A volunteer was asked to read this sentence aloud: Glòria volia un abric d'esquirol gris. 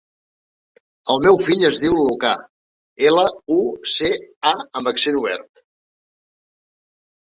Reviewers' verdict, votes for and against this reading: rejected, 0, 2